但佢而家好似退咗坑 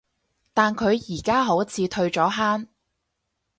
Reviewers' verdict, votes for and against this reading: accepted, 4, 0